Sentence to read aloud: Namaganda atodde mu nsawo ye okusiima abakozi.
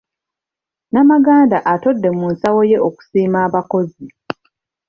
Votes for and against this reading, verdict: 2, 0, accepted